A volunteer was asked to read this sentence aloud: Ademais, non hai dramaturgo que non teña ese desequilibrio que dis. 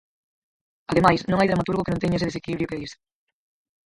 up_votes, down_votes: 0, 4